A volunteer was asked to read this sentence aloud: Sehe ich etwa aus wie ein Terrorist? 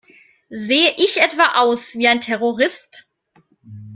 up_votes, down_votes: 2, 0